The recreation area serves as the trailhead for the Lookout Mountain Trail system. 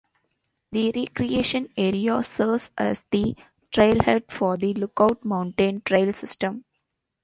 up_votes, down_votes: 2, 0